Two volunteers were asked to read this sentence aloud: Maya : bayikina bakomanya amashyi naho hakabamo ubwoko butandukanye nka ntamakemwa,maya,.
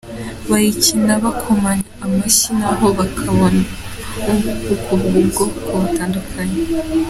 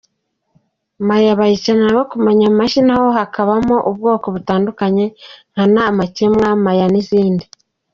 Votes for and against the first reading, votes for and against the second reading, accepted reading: 0, 2, 2, 1, second